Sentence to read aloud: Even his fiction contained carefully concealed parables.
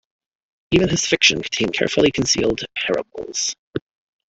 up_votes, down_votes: 2, 1